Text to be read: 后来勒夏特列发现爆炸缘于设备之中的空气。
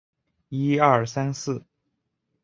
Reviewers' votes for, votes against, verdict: 0, 5, rejected